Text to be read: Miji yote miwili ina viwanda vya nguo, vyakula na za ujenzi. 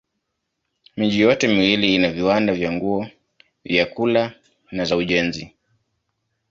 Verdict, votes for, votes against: accepted, 2, 0